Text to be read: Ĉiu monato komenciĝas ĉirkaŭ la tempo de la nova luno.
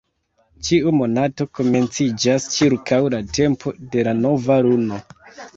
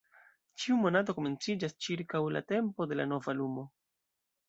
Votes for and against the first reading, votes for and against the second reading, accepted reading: 1, 2, 2, 1, second